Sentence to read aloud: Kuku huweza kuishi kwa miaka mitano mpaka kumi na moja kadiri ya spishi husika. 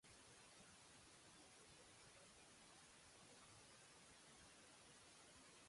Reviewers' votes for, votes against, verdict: 0, 2, rejected